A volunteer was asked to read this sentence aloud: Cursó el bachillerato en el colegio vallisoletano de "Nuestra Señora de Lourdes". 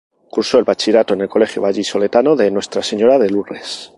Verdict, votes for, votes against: rejected, 0, 2